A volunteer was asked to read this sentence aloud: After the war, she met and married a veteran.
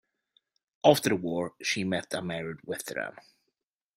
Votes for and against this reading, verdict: 0, 2, rejected